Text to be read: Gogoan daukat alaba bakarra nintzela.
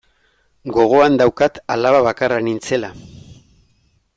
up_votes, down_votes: 2, 0